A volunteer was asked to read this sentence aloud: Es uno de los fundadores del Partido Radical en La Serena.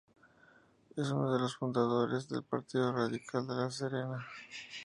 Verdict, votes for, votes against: rejected, 0, 2